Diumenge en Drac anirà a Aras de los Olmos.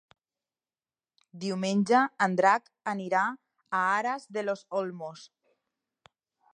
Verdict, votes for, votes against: accepted, 3, 0